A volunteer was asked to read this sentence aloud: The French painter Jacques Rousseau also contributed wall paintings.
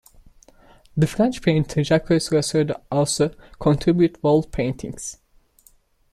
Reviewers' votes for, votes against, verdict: 0, 2, rejected